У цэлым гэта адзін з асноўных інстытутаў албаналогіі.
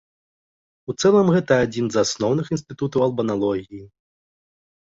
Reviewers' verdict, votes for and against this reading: accepted, 2, 0